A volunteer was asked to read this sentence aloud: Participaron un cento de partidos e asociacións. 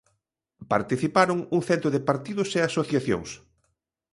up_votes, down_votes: 2, 0